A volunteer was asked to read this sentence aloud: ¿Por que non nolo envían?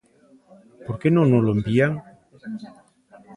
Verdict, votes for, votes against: accepted, 2, 0